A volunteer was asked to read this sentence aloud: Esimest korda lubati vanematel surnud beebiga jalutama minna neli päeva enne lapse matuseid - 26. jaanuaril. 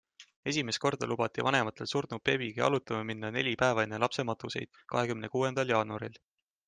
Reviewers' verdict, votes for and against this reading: rejected, 0, 2